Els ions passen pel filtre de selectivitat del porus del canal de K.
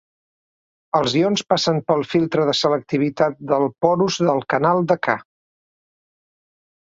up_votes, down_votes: 2, 0